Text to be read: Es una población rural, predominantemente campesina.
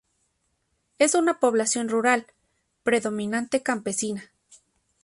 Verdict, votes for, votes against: rejected, 0, 2